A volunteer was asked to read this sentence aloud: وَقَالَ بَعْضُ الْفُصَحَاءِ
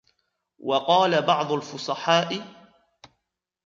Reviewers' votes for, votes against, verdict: 1, 2, rejected